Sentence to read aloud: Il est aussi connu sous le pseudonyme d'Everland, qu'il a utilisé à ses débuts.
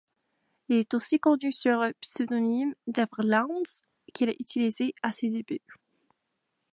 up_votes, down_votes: 0, 2